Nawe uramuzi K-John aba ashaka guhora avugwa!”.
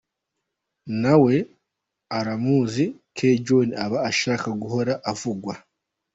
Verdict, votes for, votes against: accepted, 2, 0